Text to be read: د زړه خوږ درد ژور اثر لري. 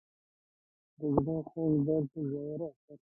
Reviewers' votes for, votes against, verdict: 1, 2, rejected